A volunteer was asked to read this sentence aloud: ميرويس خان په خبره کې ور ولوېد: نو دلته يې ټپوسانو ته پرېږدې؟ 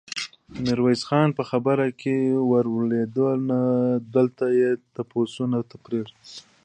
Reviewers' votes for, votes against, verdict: 0, 2, rejected